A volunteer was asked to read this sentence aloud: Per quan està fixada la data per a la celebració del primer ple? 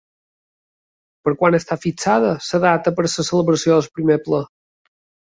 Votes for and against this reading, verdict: 1, 3, rejected